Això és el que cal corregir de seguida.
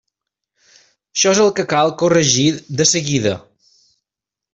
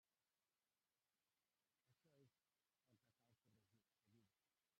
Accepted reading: first